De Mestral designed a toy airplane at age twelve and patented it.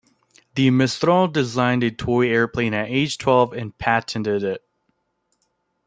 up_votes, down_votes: 2, 0